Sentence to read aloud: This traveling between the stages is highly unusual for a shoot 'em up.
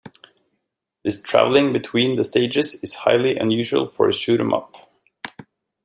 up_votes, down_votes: 2, 0